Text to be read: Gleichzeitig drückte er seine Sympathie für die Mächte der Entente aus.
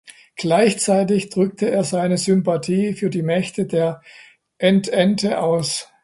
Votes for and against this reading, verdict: 2, 0, accepted